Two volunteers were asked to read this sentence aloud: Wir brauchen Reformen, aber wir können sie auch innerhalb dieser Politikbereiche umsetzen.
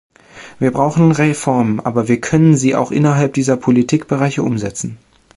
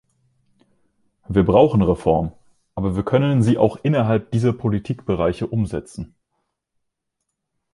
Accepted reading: first